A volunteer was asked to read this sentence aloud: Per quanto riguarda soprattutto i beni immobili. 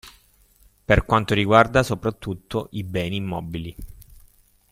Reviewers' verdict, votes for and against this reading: accepted, 2, 0